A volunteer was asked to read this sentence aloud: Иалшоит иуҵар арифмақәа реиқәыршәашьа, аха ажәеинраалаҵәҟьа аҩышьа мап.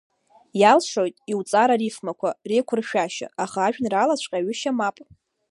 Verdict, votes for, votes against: rejected, 1, 2